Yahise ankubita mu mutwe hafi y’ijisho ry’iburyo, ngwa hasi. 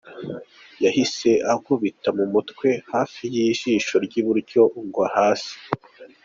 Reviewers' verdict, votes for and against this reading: accepted, 2, 0